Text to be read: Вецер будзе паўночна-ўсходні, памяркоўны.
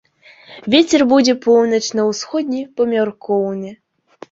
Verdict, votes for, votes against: rejected, 0, 2